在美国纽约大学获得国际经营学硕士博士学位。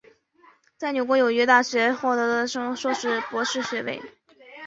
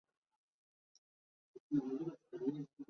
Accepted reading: first